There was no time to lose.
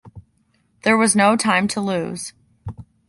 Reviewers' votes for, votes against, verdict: 2, 0, accepted